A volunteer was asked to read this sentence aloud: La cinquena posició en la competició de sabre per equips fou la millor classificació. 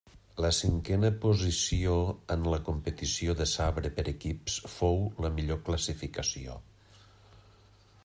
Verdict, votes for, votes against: accepted, 3, 0